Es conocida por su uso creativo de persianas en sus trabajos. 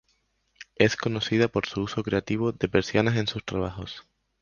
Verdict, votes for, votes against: accepted, 4, 0